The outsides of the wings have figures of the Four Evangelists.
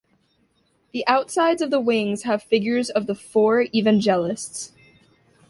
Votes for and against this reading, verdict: 2, 0, accepted